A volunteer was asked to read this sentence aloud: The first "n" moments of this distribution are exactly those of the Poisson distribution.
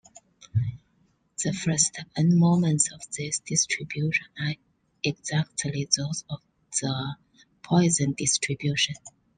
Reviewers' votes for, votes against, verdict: 0, 2, rejected